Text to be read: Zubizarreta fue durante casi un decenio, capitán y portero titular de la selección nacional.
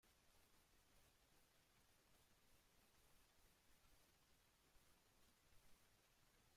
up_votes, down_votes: 1, 2